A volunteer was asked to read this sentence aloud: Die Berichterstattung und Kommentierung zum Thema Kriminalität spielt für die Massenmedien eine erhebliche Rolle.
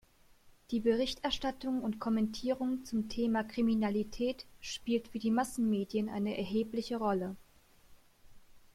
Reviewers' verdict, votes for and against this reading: accepted, 2, 0